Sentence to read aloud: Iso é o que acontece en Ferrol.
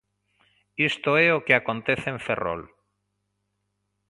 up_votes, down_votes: 1, 2